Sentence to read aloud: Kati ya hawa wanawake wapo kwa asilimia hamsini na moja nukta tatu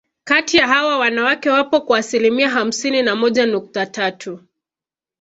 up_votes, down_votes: 2, 0